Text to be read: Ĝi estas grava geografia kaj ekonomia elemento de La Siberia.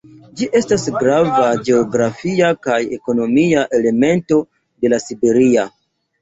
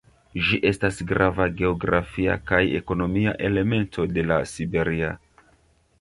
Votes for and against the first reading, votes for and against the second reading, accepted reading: 0, 2, 2, 0, second